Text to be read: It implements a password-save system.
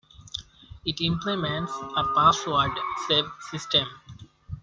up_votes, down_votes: 2, 1